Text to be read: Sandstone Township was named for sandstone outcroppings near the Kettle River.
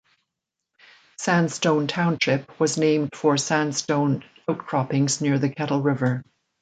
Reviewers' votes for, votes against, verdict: 2, 0, accepted